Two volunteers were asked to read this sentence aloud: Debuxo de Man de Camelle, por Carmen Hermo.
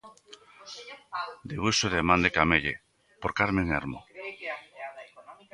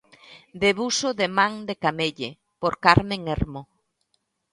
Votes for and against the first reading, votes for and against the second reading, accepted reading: 1, 2, 2, 0, second